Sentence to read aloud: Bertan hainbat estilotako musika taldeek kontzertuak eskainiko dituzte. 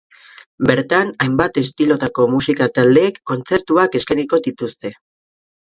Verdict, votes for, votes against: accepted, 4, 0